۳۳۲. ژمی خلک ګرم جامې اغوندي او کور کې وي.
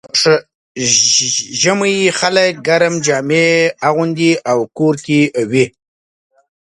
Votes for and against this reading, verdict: 0, 2, rejected